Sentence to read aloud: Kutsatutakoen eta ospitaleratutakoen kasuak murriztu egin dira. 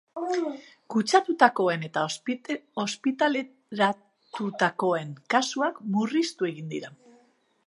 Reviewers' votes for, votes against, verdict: 0, 2, rejected